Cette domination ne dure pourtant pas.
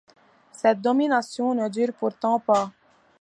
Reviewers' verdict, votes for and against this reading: accepted, 2, 0